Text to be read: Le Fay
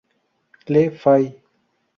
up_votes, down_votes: 2, 0